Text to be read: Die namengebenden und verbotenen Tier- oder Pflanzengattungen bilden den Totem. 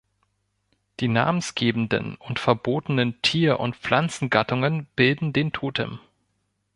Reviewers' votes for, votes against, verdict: 0, 2, rejected